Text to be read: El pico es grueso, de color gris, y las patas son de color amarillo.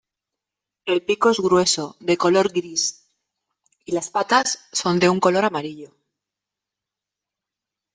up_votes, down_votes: 1, 2